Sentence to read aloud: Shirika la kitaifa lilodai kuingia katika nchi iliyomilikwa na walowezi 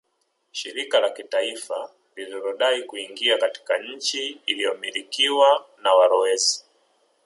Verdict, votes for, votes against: accepted, 2, 0